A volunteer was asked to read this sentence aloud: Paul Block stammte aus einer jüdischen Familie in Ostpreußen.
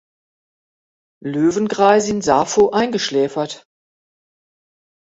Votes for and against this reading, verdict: 0, 2, rejected